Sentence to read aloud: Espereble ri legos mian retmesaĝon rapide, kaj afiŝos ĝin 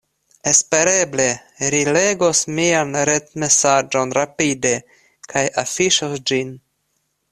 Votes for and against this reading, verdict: 1, 2, rejected